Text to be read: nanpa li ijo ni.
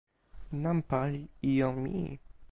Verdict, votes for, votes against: rejected, 0, 2